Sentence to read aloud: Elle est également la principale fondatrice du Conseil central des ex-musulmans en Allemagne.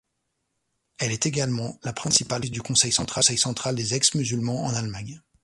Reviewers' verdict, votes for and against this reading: rejected, 0, 2